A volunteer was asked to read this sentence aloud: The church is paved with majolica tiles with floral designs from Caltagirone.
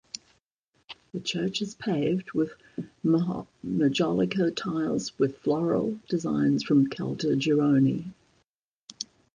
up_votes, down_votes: 0, 2